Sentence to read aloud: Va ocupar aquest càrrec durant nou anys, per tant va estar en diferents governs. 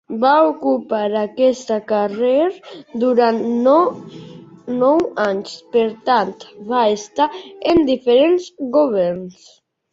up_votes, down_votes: 0, 3